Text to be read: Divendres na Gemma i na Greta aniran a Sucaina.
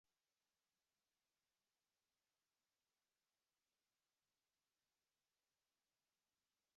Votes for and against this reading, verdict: 0, 3, rejected